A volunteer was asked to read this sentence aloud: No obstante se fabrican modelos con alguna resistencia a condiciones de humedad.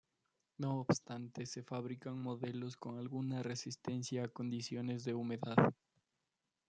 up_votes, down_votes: 2, 1